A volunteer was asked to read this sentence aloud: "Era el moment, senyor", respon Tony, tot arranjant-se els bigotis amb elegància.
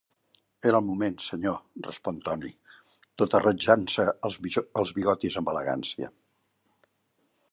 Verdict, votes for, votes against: rejected, 0, 2